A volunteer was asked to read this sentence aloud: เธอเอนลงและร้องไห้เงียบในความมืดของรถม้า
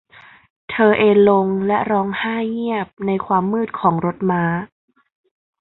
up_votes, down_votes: 2, 0